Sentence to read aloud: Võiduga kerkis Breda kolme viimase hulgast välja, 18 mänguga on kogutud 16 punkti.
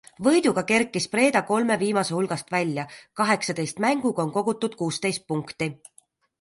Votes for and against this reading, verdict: 0, 2, rejected